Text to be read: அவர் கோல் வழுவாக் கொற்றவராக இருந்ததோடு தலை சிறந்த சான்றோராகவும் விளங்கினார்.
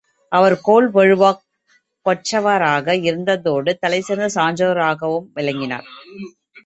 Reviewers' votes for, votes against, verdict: 2, 4, rejected